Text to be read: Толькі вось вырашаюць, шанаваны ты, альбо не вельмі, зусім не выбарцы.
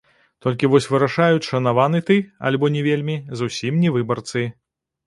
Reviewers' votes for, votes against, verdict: 1, 2, rejected